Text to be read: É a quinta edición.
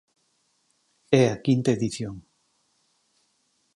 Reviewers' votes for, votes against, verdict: 4, 2, accepted